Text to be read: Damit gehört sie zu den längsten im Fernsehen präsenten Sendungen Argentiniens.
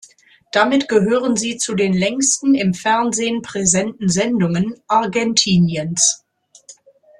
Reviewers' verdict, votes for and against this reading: rejected, 0, 2